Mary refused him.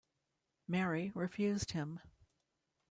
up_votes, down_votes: 2, 0